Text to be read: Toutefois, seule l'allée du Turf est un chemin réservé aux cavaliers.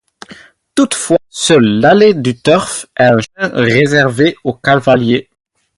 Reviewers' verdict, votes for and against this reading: rejected, 0, 4